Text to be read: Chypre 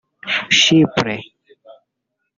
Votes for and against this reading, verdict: 0, 2, rejected